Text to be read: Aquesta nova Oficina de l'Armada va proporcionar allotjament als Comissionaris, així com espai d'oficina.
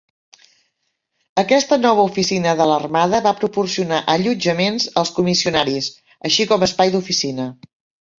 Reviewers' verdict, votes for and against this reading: rejected, 0, 2